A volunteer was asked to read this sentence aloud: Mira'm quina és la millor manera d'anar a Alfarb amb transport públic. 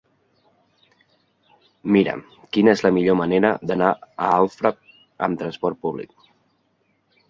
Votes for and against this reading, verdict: 0, 2, rejected